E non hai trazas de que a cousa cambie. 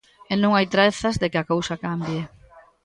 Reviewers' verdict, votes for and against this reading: accepted, 2, 0